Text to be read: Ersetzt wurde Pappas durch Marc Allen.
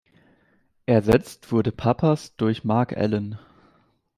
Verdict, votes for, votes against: accepted, 2, 0